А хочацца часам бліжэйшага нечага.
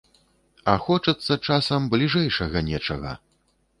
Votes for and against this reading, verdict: 3, 0, accepted